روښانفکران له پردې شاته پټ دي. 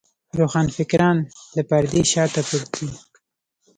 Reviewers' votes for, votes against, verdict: 1, 2, rejected